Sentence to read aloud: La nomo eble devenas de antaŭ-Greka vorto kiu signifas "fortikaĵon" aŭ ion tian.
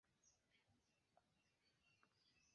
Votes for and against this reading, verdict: 1, 2, rejected